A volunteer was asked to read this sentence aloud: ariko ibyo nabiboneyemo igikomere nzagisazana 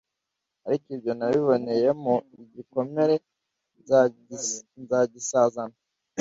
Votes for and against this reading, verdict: 1, 2, rejected